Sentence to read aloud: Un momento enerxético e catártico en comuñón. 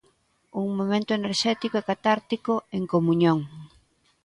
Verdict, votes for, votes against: accepted, 2, 0